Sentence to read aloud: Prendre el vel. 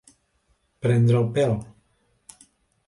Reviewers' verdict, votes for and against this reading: rejected, 0, 2